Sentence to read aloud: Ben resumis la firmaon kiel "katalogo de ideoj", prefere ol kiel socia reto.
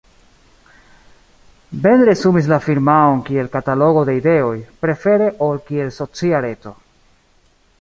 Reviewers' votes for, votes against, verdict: 0, 2, rejected